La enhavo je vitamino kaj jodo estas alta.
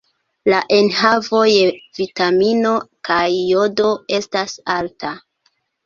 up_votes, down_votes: 2, 1